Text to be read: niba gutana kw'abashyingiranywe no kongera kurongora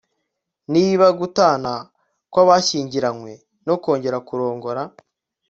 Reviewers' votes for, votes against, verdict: 2, 0, accepted